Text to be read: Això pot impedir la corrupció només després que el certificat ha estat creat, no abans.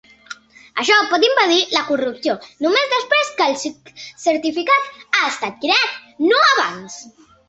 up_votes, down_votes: 0, 3